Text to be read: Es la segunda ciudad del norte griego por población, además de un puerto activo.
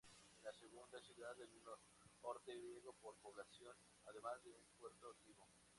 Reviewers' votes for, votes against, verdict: 2, 0, accepted